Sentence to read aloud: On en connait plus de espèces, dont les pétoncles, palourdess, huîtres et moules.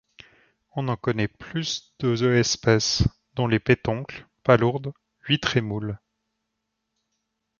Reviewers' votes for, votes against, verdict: 1, 2, rejected